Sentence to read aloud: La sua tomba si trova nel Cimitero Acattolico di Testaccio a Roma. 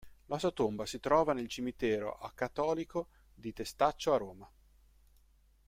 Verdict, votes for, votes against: accepted, 2, 1